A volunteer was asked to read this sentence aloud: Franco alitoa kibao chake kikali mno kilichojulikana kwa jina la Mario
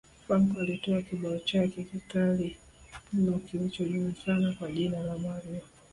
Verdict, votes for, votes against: rejected, 1, 2